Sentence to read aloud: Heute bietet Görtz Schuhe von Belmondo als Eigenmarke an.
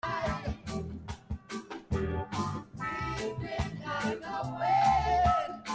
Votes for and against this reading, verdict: 0, 2, rejected